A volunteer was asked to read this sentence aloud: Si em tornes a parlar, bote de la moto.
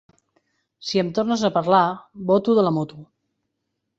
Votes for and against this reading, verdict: 1, 2, rejected